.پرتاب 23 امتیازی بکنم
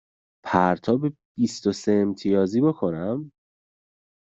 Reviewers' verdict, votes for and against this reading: rejected, 0, 2